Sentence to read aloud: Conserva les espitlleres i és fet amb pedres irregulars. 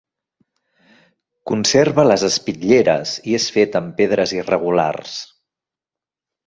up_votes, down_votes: 3, 0